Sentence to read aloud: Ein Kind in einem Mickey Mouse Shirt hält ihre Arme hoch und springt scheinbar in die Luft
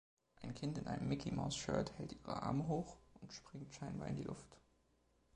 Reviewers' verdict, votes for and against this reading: rejected, 0, 2